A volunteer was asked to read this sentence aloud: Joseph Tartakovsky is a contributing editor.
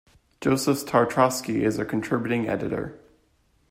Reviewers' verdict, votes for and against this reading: rejected, 1, 2